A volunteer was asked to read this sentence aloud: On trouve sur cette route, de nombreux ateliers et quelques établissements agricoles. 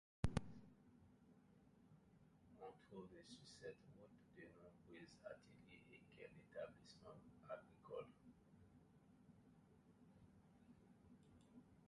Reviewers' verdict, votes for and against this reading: rejected, 1, 2